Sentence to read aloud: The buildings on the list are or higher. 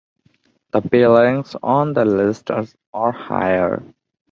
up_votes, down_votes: 0, 2